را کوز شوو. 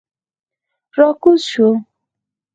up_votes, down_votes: 4, 0